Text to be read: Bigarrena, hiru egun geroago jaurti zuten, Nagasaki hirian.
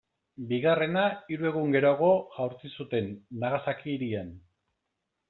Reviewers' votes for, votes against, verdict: 2, 0, accepted